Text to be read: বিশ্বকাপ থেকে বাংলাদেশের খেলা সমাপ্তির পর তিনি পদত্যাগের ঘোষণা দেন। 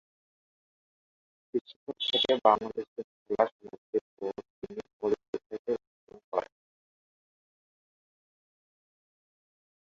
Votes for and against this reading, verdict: 0, 6, rejected